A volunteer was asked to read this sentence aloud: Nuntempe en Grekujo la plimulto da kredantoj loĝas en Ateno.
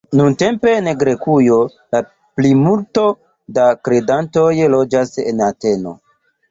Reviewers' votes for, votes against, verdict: 2, 0, accepted